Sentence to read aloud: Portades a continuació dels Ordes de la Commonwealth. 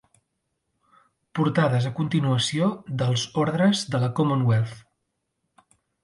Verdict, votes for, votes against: rejected, 0, 2